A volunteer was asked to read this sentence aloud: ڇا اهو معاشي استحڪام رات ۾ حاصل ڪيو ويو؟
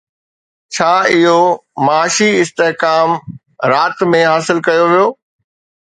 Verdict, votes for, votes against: accepted, 2, 0